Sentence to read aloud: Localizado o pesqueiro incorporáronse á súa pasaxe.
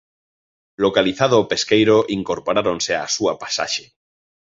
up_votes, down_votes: 2, 0